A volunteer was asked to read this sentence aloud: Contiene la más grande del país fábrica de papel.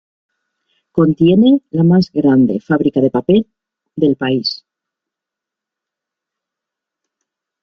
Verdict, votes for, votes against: rejected, 0, 3